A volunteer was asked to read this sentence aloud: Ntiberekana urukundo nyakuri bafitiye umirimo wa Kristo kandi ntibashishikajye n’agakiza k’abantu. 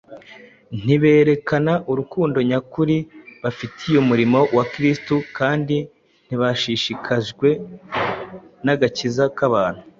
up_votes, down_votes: 1, 2